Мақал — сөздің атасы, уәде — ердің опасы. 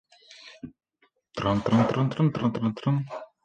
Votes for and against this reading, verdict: 0, 2, rejected